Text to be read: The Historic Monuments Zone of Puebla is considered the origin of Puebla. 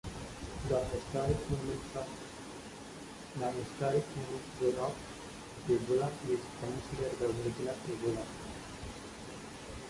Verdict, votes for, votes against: rejected, 0, 2